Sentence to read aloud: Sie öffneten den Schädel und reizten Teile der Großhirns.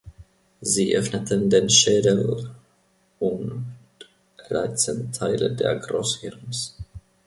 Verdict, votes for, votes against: rejected, 0, 2